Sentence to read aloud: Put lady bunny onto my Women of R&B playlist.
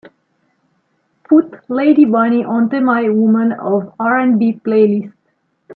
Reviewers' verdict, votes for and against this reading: accepted, 2, 0